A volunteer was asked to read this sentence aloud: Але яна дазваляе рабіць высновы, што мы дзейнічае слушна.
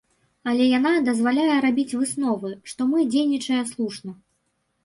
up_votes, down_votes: 2, 0